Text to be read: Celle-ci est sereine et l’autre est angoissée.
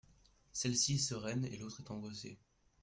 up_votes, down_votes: 1, 2